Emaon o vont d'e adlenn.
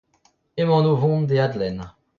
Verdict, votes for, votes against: rejected, 0, 2